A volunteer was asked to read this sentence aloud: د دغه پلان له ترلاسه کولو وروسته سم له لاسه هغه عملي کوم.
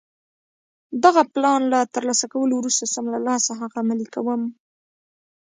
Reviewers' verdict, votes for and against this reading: rejected, 0, 2